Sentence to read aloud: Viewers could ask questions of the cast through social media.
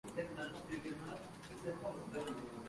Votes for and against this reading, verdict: 0, 2, rejected